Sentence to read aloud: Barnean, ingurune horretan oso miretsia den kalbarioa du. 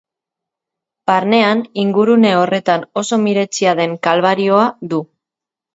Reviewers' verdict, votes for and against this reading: accepted, 2, 0